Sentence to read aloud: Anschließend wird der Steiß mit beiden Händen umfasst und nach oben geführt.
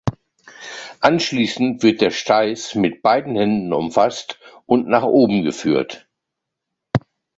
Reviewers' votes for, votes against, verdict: 2, 0, accepted